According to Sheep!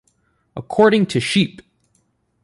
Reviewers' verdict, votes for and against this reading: rejected, 1, 2